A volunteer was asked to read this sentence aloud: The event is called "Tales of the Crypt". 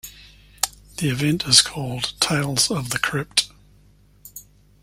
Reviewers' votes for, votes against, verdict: 2, 0, accepted